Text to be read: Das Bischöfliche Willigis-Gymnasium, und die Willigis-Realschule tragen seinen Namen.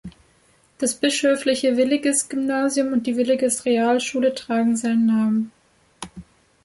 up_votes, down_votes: 3, 0